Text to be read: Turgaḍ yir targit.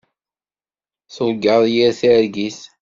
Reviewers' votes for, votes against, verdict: 2, 0, accepted